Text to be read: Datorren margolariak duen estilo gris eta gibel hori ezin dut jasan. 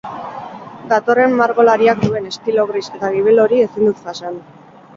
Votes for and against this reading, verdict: 0, 2, rejected